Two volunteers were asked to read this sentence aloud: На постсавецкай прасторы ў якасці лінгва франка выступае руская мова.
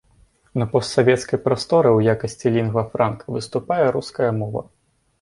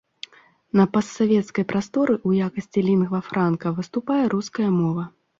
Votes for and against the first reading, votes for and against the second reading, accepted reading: 3, 0, 1, 2, first